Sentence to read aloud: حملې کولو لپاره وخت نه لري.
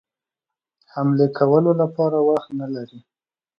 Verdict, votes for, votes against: accepted, 2, 0